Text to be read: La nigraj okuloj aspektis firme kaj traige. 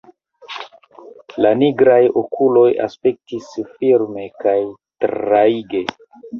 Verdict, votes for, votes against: accepted, 2, 1